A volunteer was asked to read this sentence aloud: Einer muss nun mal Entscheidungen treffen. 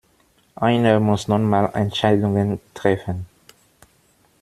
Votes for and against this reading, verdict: 2, 1, accepted